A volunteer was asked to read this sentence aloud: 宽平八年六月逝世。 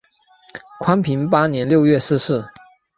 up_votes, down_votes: 7, 1